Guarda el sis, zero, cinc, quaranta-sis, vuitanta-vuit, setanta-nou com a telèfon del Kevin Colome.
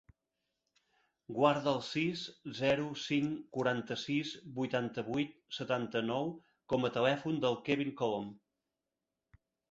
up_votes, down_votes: 0, 2